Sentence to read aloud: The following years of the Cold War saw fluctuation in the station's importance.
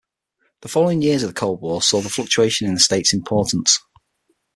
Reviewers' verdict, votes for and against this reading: rejected, 3, 6